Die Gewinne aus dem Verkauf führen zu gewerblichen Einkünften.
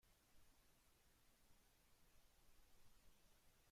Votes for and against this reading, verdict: 0, 2, rejected